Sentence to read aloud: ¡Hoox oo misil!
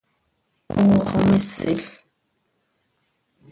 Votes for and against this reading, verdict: 1, 2, rejected